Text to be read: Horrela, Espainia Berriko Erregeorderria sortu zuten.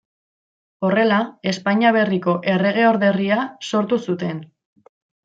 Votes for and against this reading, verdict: 2, 0, accepted